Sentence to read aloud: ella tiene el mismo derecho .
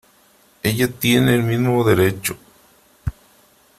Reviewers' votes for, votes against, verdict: 3, 0, accepted